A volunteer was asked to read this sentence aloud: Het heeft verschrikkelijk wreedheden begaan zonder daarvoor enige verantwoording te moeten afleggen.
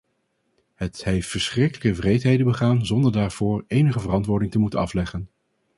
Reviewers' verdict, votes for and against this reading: rejected, 2, 2